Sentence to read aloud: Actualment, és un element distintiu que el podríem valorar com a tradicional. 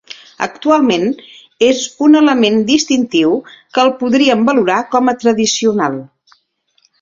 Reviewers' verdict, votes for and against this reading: accepted, 2, 0